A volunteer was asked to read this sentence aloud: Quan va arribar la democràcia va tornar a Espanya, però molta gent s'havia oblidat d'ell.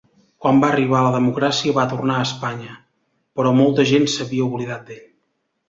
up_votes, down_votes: 2, 0